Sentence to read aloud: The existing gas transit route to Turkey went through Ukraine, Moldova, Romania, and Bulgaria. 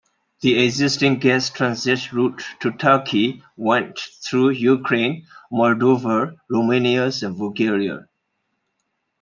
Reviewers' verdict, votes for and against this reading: accepted, 2, 0